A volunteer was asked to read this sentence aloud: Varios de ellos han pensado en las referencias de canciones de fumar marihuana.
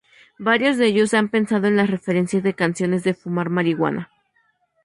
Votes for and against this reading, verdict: 2, 0, accepted